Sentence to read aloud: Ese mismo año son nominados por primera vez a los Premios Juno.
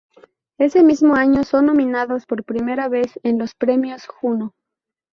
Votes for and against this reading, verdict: 2, 2, rejected